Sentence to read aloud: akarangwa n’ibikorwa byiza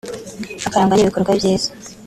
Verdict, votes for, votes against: rejected, 0, 2